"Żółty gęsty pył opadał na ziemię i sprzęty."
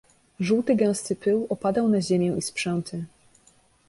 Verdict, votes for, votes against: accepted, 2, 0